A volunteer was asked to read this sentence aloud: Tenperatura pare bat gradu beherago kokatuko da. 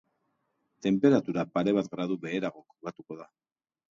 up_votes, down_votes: 2, 0